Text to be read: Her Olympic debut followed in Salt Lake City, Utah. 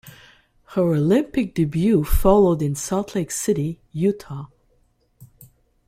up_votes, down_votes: 2, 0